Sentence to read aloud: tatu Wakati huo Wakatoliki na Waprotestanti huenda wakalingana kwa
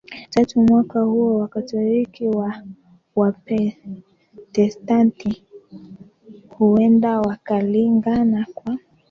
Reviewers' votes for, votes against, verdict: 1, 2, rejected